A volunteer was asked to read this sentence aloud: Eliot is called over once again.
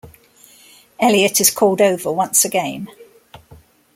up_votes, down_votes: 2, 0